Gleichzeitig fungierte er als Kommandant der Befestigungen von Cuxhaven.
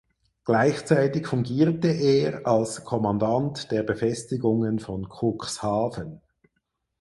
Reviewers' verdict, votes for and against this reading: accepted, 4, 0